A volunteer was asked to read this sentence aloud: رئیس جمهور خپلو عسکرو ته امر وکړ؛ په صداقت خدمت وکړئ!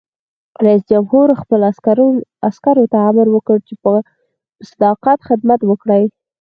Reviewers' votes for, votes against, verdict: 4, 0, accepted